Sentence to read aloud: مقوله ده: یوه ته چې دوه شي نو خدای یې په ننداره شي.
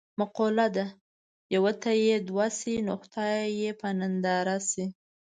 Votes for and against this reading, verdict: 1, 2, rejected